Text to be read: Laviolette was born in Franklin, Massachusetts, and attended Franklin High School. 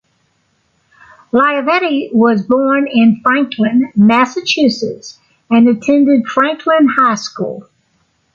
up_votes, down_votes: 1, 2